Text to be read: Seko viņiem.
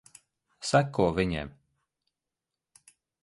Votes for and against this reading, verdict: 2, 0, accepted